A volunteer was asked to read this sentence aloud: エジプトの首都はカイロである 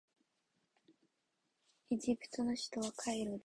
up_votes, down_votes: 1, 3